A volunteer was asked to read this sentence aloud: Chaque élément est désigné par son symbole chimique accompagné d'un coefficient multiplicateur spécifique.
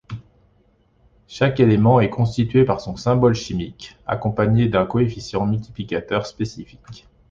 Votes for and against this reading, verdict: 0, 2, rejected